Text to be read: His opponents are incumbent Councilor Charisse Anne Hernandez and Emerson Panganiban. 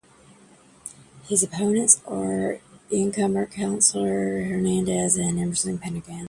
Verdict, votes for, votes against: rejected, 0, 2